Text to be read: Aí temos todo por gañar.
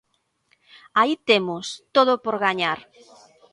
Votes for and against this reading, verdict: 2, 1, accepted